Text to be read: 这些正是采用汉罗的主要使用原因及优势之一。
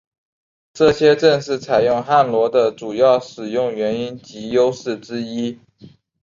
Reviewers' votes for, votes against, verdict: 6, 0, accepted